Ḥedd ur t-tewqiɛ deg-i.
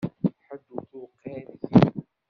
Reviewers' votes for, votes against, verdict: 0, 2, rejected